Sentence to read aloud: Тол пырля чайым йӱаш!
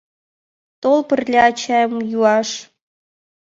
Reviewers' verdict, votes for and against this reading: rejected, 0, 2